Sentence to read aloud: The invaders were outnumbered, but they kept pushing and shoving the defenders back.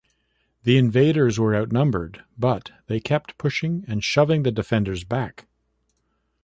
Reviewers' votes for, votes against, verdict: 0, 2, rejected